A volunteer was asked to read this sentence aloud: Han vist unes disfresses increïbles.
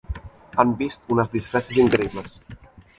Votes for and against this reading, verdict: 0, 2, rejected